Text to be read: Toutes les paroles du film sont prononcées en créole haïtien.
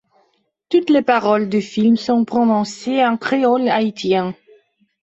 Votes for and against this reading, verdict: 0, 2, rejected